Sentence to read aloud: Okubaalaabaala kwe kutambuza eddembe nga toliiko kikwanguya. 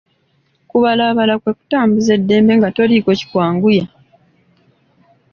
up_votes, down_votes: 2, 0